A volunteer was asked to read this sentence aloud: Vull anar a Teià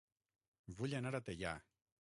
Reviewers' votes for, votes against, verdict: 3, 9, rejected